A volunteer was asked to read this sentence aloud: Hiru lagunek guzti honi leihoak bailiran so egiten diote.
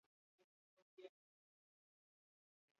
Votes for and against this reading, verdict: 0, 6, rejected